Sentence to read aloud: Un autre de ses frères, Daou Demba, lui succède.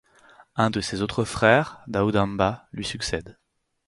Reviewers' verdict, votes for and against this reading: rejected, 2, 4